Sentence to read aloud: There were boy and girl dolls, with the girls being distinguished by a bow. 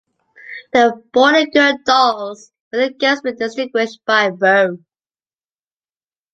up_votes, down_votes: 0, 2